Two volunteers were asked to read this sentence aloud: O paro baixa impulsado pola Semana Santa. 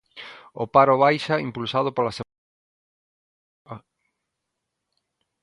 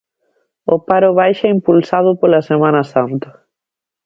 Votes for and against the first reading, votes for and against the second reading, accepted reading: 0, 2, 2, 0, second